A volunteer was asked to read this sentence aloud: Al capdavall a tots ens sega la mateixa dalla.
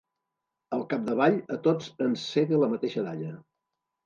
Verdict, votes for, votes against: accepted, 2, 0